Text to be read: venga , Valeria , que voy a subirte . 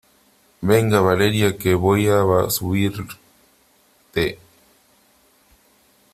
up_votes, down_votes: 0, 2